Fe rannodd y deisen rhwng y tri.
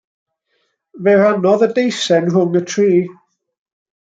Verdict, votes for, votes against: accepted, 2, 0